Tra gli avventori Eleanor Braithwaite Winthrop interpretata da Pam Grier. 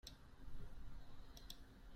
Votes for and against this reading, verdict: 0, 3, rejected